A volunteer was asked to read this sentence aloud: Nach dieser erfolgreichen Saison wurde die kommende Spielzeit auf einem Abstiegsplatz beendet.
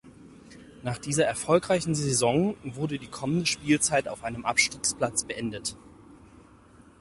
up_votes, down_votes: 4, 0